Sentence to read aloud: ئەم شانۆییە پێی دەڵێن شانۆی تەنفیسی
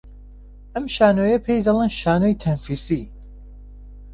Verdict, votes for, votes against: rejected, 1, 2